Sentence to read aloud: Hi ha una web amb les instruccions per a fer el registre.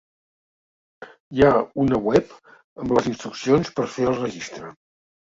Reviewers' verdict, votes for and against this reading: rejected, 0, 2